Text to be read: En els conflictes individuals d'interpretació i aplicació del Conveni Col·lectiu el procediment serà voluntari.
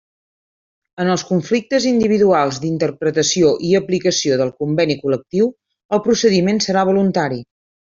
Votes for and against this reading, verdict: 3, 0, accepted